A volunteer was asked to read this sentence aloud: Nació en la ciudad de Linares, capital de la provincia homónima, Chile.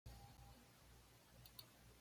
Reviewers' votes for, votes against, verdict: 1, 2, rejected